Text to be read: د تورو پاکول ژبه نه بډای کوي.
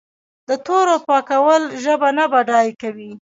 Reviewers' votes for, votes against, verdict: 2, 1, accepted